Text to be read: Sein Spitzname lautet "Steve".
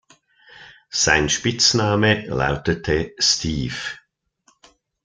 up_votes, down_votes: 0, 2